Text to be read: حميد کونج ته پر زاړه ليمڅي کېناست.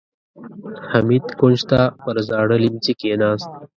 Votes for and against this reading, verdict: 1, 2, rejected